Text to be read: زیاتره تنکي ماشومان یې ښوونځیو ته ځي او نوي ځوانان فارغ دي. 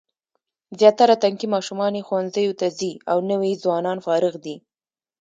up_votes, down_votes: 2, 0